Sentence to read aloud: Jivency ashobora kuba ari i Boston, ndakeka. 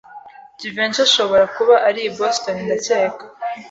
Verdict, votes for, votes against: accepted, 2, 0